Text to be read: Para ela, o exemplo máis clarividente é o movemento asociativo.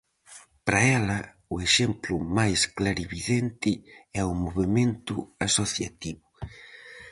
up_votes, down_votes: 4, 0